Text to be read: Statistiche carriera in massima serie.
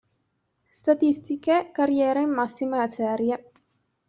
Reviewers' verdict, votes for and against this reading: rejected, 0, 2